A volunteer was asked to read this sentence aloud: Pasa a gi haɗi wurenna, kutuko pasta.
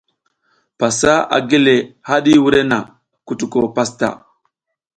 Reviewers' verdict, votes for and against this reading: accepted, 2, 0